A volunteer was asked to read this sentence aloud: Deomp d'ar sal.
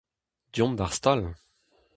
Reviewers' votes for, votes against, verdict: 0, 2, rejected